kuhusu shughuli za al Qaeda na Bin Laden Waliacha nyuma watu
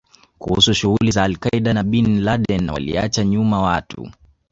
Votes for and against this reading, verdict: 2, 3, rejected